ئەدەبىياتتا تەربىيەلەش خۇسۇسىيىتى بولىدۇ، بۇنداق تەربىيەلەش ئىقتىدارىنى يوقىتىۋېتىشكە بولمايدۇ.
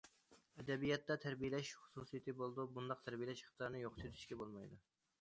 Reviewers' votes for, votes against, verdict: 2, 1, accepted